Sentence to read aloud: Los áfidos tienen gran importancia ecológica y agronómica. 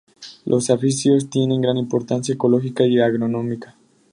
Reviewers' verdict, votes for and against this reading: rejected, 0, 2